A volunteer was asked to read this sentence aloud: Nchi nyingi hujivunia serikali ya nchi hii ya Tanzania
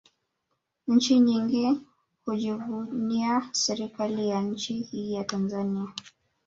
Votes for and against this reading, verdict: 1, 2, rejected